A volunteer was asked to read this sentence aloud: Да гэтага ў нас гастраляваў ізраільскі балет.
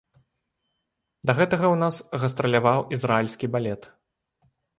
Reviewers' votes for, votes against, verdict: 2, 0, accepted